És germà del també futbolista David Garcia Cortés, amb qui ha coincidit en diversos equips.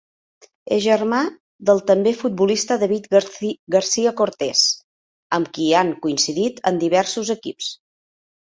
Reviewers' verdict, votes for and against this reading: rejected, 0, 2